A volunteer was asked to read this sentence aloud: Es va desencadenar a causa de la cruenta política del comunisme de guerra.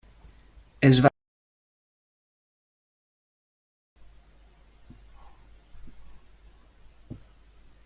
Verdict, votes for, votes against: rejected, 0, 3